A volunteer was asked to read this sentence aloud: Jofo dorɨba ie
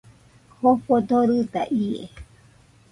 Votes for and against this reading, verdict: 0, 2, rejected